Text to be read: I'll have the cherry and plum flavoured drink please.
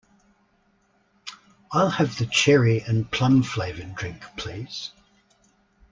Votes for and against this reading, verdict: 2, 0, accepted